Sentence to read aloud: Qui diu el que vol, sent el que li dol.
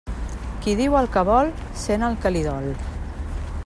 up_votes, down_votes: 3, 0